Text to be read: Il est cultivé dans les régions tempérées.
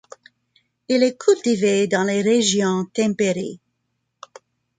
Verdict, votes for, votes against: rejected, 1, 2